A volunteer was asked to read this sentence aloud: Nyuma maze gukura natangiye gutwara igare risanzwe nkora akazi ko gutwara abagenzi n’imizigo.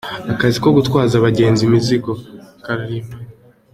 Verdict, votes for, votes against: rejected, 1, 2